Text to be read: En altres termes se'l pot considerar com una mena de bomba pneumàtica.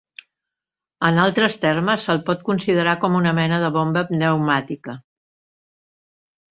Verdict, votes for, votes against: accepted, 2, 0